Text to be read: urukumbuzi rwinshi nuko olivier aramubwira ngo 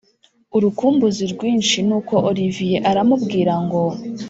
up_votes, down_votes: 3, 0